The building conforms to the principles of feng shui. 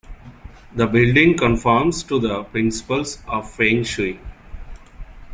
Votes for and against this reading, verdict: 2, 0, accepted